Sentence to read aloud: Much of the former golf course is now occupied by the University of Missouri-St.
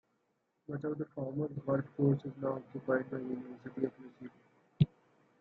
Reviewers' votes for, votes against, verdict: 0, 2, rejected